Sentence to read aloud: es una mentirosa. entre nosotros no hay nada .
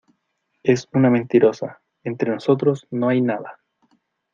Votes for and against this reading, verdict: 2, 0, accepted